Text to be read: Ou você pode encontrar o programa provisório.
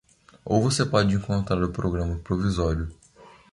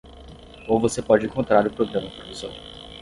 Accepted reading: first